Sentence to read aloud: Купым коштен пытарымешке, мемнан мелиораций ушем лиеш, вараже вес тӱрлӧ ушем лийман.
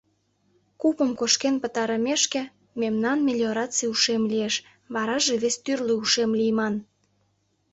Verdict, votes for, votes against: rejected, 0, 2